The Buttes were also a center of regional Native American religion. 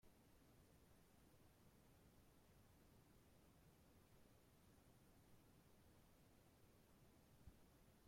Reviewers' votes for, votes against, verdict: 0, 2, rejected